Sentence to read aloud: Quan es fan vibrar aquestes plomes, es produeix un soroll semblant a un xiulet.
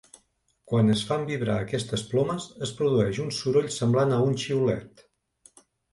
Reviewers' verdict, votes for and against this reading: accepted, 3, 0